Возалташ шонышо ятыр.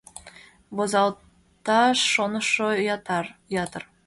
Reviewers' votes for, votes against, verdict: 0, 2, rejected